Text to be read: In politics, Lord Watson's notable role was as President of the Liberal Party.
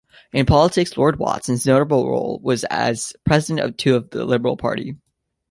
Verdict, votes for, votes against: rejected, 1, 2